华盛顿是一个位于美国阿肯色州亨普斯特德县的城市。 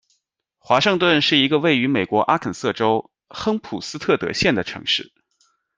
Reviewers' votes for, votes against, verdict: 2, 0, accepted